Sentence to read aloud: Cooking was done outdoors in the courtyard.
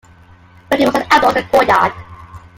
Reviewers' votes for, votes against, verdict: 0, 2, rejected